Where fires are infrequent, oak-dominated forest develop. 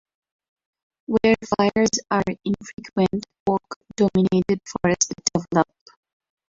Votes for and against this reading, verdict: 2, 4, rejected